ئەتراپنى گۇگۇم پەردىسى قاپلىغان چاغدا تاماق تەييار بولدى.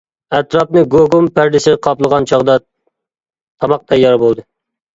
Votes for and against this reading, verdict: 2, 0, accepted